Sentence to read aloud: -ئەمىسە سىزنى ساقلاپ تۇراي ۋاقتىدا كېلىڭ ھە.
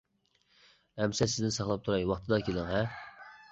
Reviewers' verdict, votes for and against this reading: accepted, 2, 0